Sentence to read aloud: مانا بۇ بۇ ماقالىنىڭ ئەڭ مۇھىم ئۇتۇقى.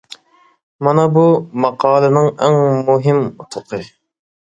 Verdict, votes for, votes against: rejected, 1, 2